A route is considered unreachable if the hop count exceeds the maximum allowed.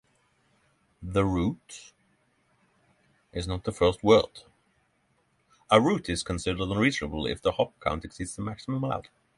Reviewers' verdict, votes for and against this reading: rejected, 0, 6